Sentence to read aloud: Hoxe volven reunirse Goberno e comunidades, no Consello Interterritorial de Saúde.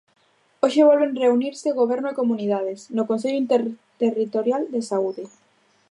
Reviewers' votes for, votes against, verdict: 0, 2, rejected